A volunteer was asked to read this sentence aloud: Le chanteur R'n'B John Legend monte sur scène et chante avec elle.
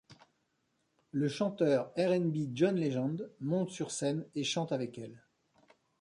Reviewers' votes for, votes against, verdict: 2, 0, accepted